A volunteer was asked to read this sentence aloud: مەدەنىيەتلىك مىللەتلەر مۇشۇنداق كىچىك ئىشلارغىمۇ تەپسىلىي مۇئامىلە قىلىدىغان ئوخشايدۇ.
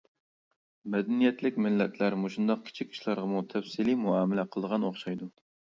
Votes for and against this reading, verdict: 2, 0, accepted